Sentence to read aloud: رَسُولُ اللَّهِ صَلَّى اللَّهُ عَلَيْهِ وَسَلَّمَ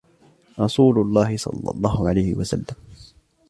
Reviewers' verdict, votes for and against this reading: accepted, 2, 1